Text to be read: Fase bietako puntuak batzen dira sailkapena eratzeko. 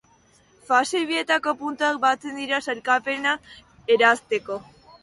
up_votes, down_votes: 0, 3